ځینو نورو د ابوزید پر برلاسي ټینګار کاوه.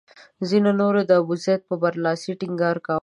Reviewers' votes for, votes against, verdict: 1, 2, rejected